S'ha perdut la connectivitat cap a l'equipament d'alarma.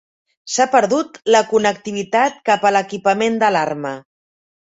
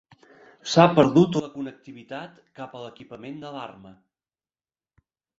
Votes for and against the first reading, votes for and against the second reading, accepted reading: 2, 0, 2, 3, first